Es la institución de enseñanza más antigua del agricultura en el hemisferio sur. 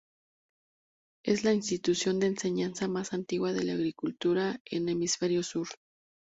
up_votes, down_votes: 2, 2